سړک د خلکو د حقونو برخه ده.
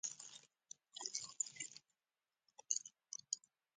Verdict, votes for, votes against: accepted, 2, 0